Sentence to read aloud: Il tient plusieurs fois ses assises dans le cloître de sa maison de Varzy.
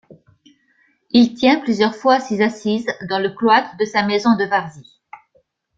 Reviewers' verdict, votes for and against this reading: accepted, 2, 0